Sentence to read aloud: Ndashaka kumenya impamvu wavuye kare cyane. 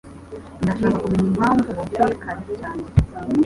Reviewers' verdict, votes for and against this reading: accepted, 2, 0